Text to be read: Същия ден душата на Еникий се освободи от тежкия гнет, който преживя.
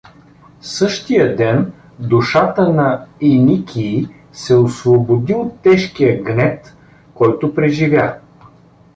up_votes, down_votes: 2, 0